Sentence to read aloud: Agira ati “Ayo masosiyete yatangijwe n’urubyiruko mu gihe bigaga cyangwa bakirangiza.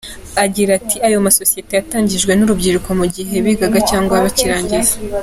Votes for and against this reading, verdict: 2, 0, accepted